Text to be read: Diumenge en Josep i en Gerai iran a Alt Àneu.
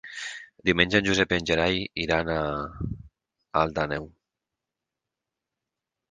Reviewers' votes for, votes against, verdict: 6, 0, accepted